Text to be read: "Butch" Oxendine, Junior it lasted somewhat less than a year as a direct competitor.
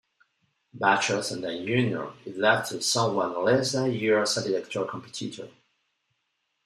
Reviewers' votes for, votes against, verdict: 1, 2, rejected